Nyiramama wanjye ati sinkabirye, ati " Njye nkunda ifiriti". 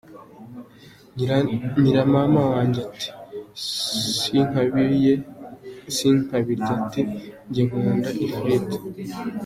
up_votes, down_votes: 2, 0